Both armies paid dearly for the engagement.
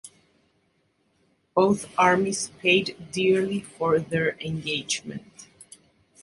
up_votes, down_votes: 0, 2